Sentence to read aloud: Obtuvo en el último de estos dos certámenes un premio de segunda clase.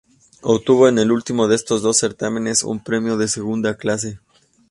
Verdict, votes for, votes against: accepted, 2, 0